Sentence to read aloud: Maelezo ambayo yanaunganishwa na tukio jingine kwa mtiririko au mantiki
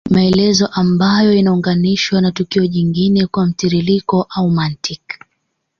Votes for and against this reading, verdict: 2, 0, accepted